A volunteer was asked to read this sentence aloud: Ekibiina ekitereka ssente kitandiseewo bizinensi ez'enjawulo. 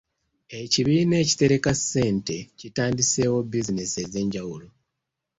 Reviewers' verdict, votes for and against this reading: accepted, 2, 0